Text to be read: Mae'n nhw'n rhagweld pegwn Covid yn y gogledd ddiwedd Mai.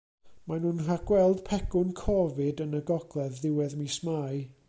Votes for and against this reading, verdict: 0, 2, rejected